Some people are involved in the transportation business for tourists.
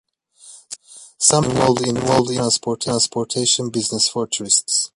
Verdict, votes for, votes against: rejected, 0, 2